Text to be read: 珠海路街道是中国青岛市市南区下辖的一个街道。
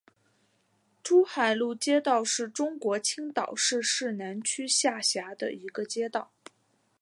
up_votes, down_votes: 2, 0